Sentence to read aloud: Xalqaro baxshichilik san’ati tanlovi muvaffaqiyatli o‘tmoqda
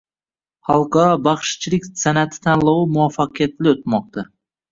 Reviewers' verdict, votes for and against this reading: accepted, 2, 1